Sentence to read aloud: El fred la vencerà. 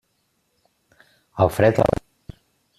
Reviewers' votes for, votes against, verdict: 0, 2, rejected